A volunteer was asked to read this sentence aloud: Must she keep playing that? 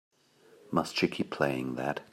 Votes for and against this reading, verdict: 3, 0, accepted